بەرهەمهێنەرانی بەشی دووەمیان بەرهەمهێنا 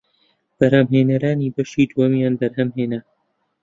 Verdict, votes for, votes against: accepted, 2, 0